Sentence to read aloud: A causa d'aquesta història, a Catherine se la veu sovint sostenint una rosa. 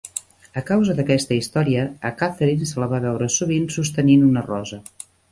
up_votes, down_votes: 1, 2